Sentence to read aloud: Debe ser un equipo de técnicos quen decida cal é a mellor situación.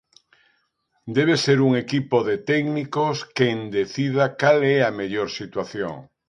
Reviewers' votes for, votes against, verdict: 2, 0, accepted